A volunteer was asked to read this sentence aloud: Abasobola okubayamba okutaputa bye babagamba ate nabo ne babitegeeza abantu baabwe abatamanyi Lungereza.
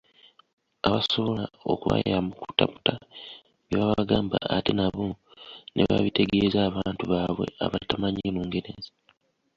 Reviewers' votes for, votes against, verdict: 2, 0, accepted